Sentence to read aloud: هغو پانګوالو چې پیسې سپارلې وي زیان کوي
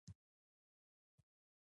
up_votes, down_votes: 2, 1